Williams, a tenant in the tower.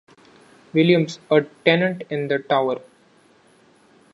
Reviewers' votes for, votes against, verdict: 2, 0, accepted